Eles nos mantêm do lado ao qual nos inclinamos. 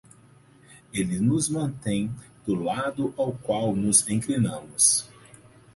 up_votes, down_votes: 2, 4